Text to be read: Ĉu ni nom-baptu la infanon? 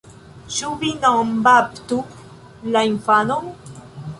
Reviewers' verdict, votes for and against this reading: rejected, 1, 2